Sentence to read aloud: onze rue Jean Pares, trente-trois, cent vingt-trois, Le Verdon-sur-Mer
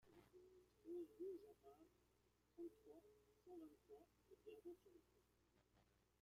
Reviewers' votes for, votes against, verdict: 0, 2, rejected